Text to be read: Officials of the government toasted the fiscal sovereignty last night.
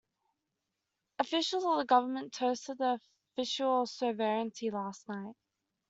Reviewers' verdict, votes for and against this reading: rejected, 0, 2